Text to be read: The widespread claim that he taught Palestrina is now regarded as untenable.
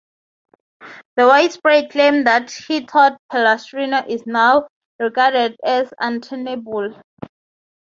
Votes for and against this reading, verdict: 3, 0, accepted